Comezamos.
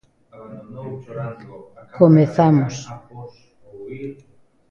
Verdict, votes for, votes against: rejected, 1, 2